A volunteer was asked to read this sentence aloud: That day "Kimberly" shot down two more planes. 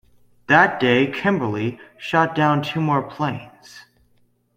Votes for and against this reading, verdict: 2, 0, accepted